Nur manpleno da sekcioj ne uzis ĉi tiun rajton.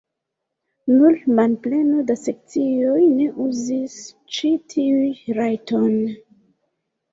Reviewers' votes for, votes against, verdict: 1, 2, rejected